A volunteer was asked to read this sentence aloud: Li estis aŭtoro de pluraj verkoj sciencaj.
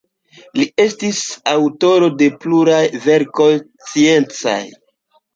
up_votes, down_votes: 2, 1